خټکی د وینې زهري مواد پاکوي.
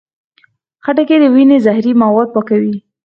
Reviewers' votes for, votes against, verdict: 2, 4, rejected